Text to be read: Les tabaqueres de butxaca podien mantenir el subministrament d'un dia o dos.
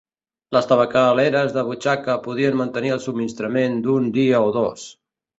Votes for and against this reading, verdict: 0, 2, rejected